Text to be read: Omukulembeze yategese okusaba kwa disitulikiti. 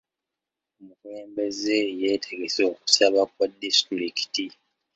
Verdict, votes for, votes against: rejected, 1, 2